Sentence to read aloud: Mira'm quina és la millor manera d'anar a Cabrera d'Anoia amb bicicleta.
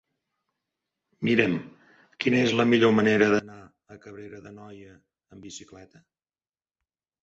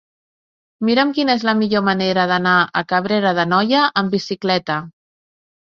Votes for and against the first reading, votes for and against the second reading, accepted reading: 1, 2, 3, 0, second